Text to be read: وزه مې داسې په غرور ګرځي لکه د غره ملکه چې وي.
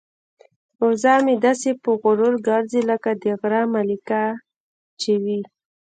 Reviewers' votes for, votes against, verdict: 2, 1, accepted